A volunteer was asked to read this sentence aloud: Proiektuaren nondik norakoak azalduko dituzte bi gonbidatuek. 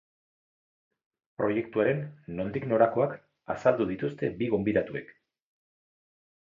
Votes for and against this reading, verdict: 2, 4, rejected